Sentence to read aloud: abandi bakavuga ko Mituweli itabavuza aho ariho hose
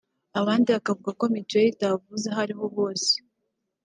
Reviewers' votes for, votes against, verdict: 2, 1, accepted